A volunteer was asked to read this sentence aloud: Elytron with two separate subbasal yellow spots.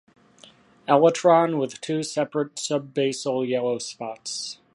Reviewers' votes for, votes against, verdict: 2, 0, accepted